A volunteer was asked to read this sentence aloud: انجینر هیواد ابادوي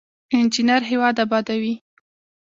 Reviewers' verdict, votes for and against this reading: accepted, 2, 0